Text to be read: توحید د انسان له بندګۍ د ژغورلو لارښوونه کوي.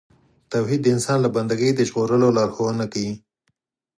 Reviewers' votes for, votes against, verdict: 4, 0, accepted